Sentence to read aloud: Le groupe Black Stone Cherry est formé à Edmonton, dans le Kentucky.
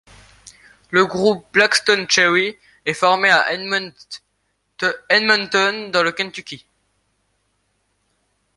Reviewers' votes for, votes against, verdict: 1, 2, rejected